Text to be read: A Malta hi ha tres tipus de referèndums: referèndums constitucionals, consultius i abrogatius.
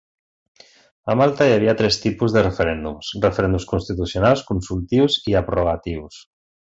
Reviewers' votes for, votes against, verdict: 2, 0, accepted